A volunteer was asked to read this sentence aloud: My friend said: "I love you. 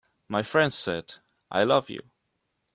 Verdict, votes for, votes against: accepted, 2, 0